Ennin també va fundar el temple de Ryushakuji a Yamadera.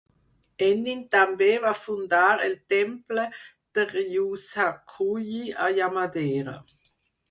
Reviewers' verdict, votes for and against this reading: accepted, 4, 0